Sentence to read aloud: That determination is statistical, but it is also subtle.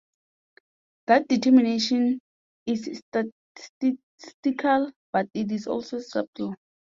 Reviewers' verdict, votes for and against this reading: rejected, 0, 2